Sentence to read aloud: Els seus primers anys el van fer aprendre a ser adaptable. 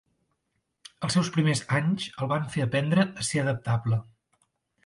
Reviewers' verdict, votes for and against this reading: accepted, 2, 0